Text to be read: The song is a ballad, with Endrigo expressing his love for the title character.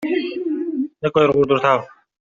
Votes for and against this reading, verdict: 0, 2, rejected